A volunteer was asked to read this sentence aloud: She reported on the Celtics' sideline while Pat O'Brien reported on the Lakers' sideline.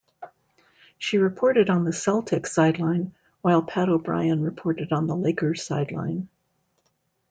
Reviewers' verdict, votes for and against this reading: accepted, 2, 0